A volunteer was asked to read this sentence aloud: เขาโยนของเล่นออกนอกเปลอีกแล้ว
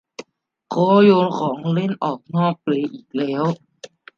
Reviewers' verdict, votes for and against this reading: accepted, 2, 0